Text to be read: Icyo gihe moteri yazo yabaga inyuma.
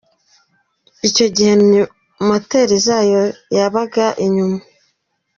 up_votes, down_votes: 0, 2